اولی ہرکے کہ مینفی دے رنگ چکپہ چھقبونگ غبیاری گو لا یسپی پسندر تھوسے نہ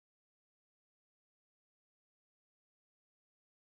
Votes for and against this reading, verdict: 1, 2, rejected